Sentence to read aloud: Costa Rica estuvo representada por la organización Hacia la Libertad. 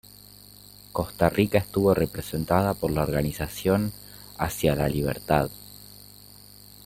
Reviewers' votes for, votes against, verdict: 2, 0, accepted